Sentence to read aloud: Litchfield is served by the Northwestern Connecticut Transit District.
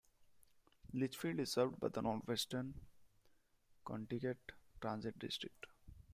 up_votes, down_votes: 2, 1